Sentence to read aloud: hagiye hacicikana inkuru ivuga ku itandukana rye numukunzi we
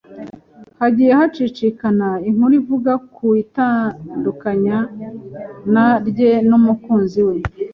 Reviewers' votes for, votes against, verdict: 1, 2, rejected